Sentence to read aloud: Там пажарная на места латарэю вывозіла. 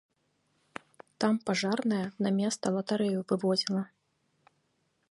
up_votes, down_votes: 2, 0